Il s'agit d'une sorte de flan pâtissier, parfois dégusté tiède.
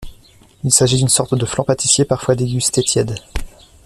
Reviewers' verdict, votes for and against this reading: accepted, 2, 0